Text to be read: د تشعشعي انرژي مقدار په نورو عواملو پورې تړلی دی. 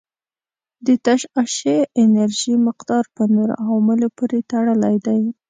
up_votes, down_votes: 1, 2